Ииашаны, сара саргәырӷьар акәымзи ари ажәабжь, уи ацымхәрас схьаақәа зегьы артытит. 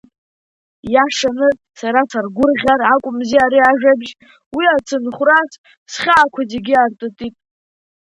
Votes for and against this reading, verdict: 4, 3, accepted